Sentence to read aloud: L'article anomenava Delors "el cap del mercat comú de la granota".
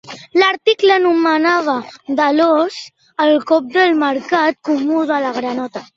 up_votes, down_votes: 0, 2